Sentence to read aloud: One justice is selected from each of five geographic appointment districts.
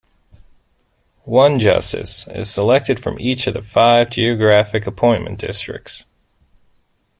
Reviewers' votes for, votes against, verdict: 0, 2, rejected